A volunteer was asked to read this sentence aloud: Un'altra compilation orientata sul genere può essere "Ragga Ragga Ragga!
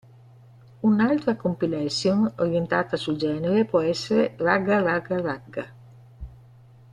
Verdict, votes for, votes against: accepted, 2, 0